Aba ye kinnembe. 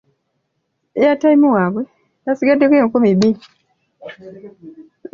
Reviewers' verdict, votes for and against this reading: rejected, 1, 3